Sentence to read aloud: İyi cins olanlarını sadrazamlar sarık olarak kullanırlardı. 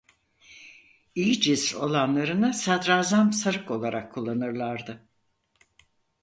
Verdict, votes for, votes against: rejected, 2, 4